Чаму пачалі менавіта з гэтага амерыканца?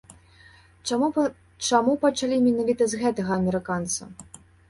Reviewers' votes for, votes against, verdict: 1, 2, rejected